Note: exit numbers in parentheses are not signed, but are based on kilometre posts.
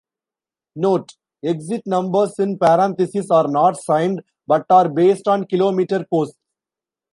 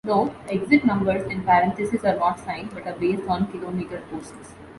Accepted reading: second